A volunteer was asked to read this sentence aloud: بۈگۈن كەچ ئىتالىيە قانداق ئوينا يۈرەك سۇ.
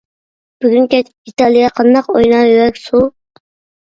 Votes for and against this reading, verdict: 0, 2, rejected